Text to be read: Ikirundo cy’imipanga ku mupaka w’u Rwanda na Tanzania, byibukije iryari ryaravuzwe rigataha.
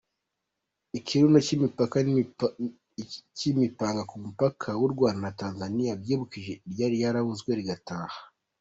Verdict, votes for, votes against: rejected, 1, 2